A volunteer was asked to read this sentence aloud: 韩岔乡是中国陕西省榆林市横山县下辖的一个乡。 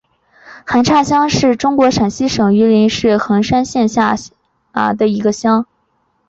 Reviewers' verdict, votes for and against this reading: accepted, 2, 1